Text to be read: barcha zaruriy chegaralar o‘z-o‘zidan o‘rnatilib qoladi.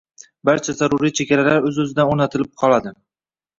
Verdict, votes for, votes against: rejected, 1, 2